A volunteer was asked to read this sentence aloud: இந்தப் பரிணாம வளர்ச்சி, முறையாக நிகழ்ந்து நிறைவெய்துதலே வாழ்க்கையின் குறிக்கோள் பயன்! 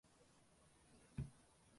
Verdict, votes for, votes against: rejected, 0, 2